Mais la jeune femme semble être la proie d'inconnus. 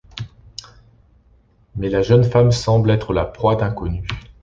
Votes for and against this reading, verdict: 2, 0, accepted